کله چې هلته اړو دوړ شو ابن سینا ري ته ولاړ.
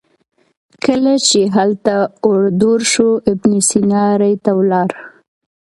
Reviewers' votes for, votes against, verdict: 2, 0, accepted